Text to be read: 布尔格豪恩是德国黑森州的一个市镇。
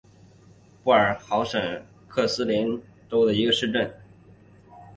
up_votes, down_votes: 0, 3